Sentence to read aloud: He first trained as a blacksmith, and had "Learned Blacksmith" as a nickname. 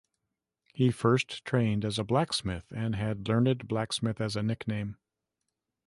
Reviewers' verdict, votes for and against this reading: accepted, 2, 0